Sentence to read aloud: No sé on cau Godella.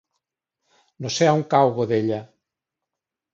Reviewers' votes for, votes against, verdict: 5, 1, accepted